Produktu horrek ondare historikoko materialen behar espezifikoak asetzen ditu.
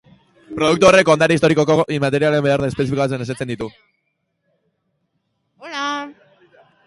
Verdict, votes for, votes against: rejected, 0, 2